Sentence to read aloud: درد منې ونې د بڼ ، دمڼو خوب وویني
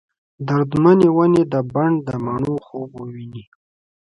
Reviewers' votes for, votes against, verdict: 2, 0, accepted